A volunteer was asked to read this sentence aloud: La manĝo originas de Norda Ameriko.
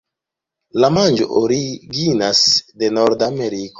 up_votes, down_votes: 0, 2